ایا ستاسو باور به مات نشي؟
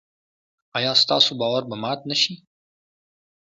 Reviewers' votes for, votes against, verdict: 2, 0, accepted